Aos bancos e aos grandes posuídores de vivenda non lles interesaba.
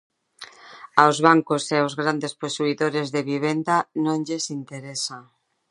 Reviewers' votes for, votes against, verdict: 0, 2, rejected